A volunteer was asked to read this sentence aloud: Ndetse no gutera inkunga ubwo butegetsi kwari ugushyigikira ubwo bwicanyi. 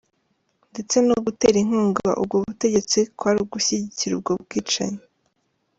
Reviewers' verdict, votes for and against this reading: accepted, 2, 1